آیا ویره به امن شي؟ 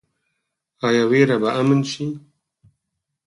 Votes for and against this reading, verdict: 2, 4, rejected